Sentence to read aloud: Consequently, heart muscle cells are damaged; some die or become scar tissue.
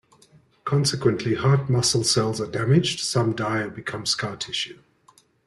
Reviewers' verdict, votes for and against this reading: accepted, 2, 0